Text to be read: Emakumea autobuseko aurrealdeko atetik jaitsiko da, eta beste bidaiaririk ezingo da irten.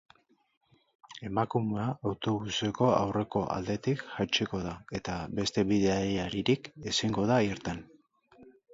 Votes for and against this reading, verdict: 4, 4, rejected